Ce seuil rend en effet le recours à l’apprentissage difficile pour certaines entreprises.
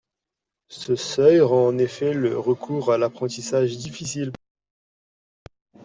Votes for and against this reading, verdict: 0, 2, rejected